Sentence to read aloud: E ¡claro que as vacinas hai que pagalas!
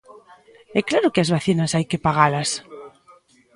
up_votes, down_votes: 1, 2